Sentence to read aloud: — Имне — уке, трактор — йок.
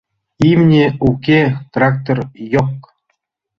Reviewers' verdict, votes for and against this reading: accepted, 2, 0